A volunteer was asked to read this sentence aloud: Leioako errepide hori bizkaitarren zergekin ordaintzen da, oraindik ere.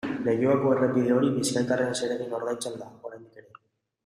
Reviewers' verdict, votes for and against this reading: rejected, 0, 2